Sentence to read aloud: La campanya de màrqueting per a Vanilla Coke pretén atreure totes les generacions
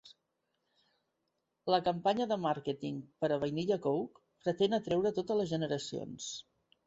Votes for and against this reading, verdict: 2, 0, accepted